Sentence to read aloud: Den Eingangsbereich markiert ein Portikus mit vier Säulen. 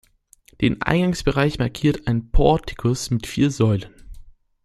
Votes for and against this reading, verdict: 2, 0, accepted